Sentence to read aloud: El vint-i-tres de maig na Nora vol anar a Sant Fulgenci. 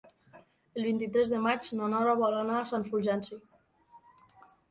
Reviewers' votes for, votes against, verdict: 1, 2, rejected